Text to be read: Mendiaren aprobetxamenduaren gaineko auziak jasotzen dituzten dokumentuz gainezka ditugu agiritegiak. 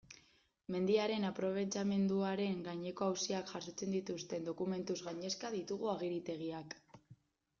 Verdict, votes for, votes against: accepted, 2, 0